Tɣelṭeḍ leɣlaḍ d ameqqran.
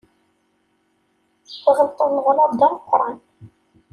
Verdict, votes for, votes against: accepted, 2, 0